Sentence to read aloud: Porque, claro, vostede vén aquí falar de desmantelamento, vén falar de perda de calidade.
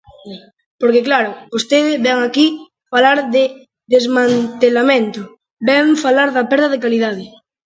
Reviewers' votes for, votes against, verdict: 0, 2, rejected